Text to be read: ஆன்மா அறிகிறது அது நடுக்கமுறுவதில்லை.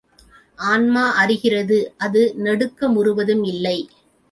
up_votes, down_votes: 1, 3